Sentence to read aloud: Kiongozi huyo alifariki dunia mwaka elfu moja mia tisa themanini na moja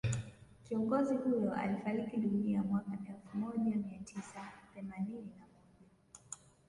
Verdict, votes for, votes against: rejected, 0, 2